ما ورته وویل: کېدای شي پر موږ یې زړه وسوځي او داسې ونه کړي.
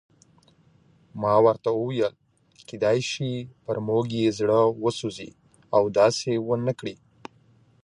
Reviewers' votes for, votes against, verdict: 2, 1, accepted